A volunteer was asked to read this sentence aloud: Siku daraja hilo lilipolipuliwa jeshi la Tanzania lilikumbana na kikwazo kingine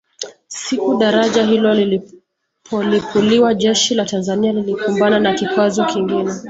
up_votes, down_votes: 2, 1